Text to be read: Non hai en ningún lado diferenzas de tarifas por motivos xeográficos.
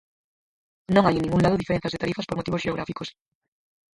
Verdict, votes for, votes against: rejected, 2, 4